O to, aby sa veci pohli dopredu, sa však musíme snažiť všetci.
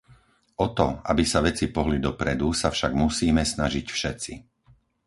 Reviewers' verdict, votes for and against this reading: accepted, 4, 0